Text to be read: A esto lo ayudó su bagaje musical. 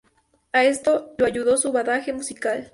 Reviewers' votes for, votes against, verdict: 0, 2, rejected